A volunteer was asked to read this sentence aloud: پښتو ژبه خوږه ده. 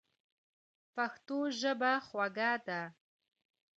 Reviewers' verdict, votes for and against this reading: accepted, 2, 1